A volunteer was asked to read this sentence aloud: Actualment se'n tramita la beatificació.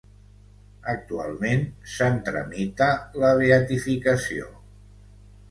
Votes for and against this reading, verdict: 2, 1, accepted